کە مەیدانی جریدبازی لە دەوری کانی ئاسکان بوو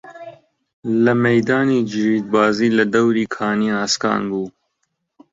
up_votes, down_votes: 0, 2